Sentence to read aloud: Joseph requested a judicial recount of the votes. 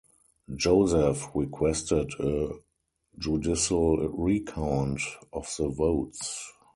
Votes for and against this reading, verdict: 2, 2, rejected